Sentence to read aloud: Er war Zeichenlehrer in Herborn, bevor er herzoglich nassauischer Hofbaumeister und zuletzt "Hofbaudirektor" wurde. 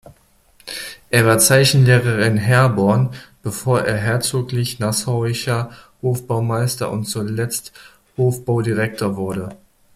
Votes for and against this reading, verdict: 2, 0, accepted